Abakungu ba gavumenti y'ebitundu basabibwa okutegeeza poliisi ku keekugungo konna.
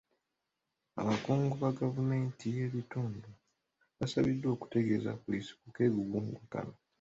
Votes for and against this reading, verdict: 0, 2, rejected